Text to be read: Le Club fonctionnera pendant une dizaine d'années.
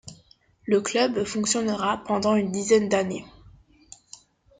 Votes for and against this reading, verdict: 2, 0, accepted